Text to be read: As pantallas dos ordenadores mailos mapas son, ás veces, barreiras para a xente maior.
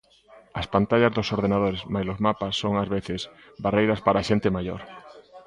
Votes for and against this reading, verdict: 0, 2, rejected